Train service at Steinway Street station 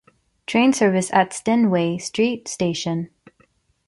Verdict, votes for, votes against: rejected, 1, 2